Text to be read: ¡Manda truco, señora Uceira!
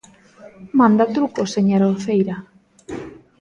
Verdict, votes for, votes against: accepted, 2, 0